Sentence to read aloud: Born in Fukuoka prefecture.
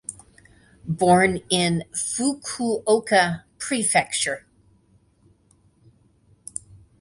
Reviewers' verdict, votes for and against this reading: accepted, 2, 0